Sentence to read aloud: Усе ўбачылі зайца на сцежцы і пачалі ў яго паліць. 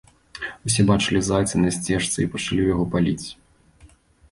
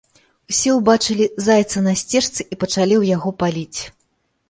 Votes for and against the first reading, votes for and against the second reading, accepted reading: 1, 2, 2, 1, second